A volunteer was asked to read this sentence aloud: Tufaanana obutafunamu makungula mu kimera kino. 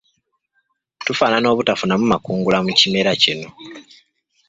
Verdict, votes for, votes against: accepted, 2, 1